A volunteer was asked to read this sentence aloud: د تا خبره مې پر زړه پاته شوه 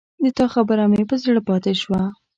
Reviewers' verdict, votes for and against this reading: accepted, 2, 0